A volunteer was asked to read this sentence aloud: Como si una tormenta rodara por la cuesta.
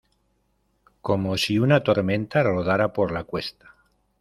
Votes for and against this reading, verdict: 2, 0, accepted